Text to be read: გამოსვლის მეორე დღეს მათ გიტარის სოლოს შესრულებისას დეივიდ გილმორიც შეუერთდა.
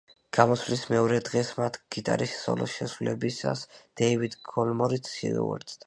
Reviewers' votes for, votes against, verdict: 2, 1, accepted